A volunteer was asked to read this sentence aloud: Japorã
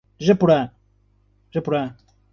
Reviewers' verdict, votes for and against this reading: rejected, 0, 2